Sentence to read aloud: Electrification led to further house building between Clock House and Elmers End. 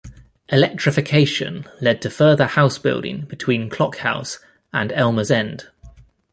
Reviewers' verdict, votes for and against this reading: accepted, 2, 0